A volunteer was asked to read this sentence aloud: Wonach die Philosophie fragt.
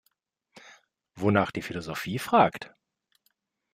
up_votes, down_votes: 2, 0